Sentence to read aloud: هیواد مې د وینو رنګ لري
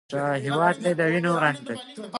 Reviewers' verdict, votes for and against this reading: rejected, 1, 2